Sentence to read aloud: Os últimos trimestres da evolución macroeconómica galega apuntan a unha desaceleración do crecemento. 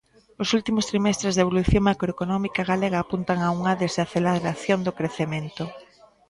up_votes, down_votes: 0, 2